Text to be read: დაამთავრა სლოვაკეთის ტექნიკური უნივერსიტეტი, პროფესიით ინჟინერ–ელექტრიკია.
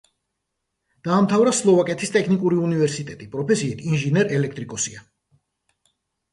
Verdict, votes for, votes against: rejected, 0, 2